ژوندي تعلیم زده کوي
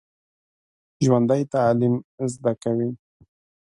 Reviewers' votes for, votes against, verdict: 1, 2, rejected